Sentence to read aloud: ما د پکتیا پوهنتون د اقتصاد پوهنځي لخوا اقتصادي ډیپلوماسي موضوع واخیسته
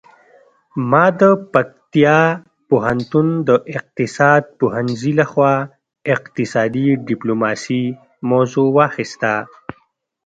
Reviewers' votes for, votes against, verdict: 1, 2, rejected